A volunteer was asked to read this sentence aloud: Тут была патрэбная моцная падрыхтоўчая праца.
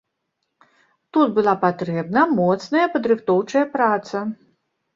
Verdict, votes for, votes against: rejected, 1, 2